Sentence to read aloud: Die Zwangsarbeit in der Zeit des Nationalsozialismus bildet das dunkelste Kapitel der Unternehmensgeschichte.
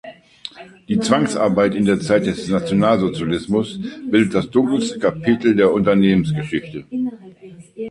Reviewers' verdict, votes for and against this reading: accepted, 3, 2